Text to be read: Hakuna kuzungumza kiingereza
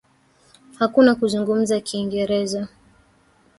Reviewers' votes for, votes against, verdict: 1, 2, rejected